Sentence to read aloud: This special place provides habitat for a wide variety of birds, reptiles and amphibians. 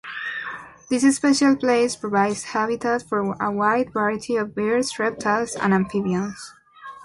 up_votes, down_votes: 1, 2